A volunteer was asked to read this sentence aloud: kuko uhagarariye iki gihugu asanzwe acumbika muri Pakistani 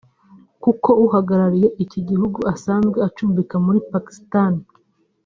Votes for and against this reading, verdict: 1, 2, rejected